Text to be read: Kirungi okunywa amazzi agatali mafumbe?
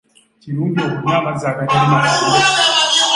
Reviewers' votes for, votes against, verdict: 1, 2, rejected